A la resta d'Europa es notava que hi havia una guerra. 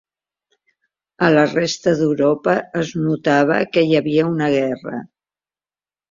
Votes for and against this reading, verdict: 2, 0, accepted